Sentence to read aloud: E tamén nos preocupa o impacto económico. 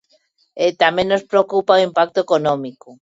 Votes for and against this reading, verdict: 3, 0, accepted